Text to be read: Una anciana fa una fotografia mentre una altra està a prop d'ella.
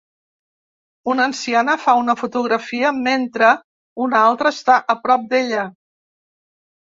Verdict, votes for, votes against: accepted, 2, 0